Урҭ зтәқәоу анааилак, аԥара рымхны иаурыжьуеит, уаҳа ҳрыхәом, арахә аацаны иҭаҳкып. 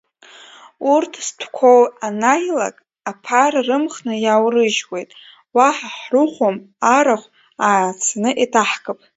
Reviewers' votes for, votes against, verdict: 0, 2, rejected